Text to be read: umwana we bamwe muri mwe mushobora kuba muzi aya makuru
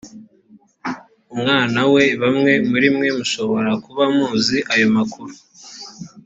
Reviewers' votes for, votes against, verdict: 1, 2, rejected